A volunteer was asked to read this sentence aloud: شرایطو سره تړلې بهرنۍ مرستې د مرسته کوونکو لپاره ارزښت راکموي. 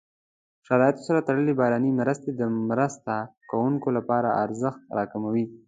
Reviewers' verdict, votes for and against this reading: accepted, 2, 0